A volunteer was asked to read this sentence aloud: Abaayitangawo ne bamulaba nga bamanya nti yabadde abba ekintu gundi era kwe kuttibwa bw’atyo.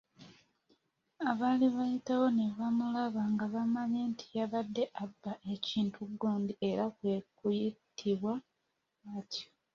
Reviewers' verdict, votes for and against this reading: rejected, 0, 2